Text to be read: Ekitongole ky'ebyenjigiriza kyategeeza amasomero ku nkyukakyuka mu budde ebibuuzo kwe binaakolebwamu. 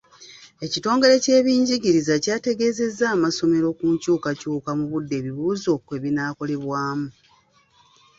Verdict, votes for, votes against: rejected, 1, 2